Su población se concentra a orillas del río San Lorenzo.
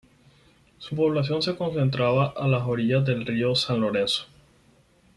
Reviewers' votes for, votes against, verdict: 4, 2, accepted